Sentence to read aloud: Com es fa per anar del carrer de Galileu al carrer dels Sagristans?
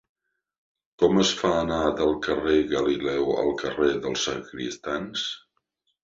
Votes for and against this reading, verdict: 0, 2, rejected